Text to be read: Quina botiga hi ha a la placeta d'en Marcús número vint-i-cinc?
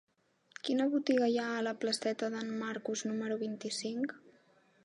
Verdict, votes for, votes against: rejected, 1, 2